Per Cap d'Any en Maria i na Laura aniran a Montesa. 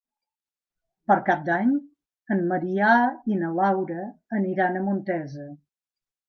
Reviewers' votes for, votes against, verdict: 1, 2, rejected